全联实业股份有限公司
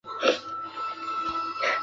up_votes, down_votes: 0, 2